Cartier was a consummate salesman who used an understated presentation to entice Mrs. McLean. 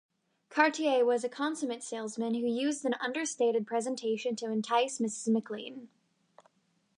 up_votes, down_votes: 2, 1